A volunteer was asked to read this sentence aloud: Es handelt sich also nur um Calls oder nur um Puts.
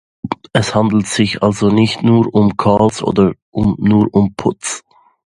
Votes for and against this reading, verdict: 0, 2, rejected